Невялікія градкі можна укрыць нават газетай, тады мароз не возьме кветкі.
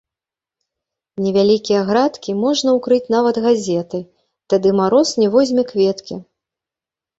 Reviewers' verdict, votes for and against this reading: rejected, 1, 2